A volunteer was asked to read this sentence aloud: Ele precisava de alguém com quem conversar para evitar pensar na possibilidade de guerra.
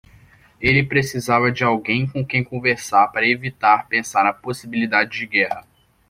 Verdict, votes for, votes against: accepted, 2, 0